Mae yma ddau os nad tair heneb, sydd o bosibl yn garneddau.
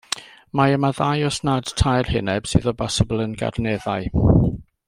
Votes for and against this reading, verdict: 2, 0, accepted